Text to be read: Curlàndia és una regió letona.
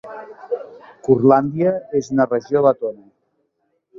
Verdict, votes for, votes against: accepted, 2, 1